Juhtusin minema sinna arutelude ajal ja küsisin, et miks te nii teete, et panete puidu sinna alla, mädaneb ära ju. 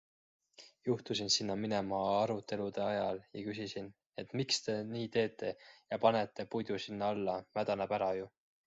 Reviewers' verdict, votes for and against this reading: rejected, 1, 2